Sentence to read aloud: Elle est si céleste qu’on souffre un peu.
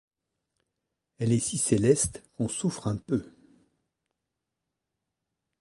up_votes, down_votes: 2, 0